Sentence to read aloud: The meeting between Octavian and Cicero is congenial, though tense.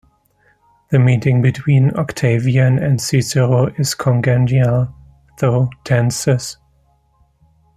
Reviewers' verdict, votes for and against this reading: rejected, 0, 2